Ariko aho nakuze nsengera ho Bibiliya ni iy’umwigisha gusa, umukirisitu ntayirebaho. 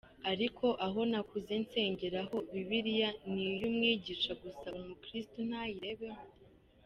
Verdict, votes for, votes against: rejected, 1, 2